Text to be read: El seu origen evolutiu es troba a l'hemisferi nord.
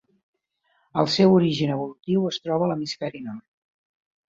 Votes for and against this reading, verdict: 2, 0, accepted